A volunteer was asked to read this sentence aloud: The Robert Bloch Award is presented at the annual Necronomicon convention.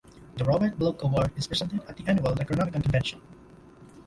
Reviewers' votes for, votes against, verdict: 1, 2, rejected